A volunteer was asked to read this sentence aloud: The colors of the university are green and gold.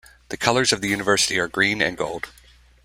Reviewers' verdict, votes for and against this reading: accepted, 2, 0